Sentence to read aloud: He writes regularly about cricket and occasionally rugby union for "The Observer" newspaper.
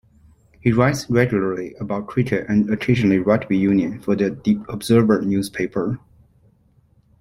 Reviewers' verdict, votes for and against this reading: rejected, 1, 2